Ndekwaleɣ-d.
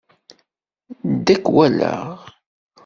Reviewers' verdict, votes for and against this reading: rejected, 1, 2